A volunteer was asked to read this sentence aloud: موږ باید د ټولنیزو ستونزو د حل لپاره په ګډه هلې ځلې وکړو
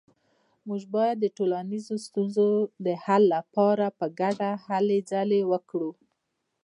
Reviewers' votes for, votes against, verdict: 2, 0, accepted